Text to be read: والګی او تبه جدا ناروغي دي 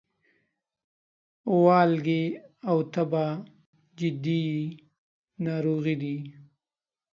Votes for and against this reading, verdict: 1, 2, rejected